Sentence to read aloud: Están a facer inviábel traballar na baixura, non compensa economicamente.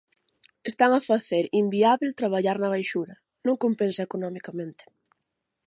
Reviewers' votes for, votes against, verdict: 6, 0, accepted